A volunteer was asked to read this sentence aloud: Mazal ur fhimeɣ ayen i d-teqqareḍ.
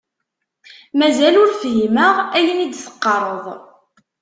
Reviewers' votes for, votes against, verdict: 2, 0, accepted